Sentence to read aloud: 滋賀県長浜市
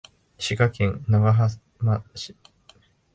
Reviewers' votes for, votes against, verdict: 2, 0, accepted